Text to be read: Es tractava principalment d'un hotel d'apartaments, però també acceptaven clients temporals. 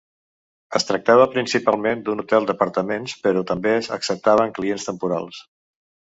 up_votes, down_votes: 2, 1